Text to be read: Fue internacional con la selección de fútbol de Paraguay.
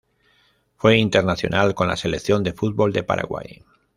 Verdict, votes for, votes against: rejected, 0, 2